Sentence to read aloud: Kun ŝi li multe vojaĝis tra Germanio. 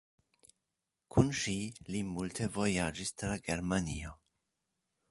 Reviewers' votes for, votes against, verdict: 2, 0, accepted